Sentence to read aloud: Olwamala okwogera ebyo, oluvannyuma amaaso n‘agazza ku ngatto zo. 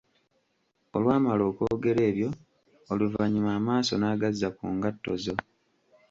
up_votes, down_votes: 2, 0